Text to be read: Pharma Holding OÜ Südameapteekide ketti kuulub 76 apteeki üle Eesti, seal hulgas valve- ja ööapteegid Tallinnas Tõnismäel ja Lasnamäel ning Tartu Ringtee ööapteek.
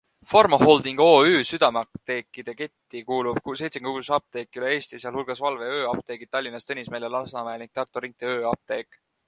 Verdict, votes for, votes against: rejected, 0, 2